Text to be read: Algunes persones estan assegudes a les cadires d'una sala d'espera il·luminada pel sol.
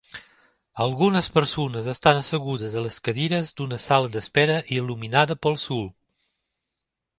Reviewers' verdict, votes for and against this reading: rejected, 1, 2